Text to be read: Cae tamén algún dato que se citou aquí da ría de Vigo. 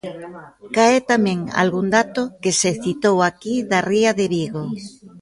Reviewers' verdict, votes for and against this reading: rejected, 0, 2